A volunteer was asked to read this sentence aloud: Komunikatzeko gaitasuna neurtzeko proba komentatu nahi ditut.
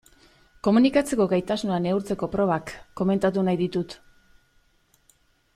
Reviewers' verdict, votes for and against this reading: rejected, 0, 2